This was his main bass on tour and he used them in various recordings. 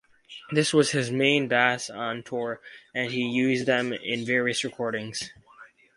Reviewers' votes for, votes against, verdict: 4, 2, accepted